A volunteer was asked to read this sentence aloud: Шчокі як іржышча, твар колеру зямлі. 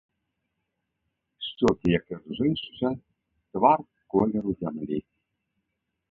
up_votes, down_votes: 0, 2